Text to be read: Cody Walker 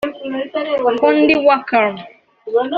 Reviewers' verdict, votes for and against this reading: rejected, 1, 2